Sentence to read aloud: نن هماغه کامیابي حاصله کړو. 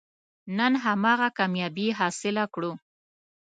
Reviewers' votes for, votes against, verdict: 2, 0, accepted